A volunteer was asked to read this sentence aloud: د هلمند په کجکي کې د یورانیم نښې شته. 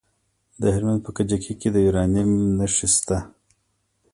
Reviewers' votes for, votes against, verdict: 0, 2, rejected